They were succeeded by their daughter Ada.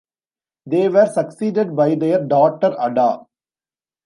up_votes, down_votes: 2, 0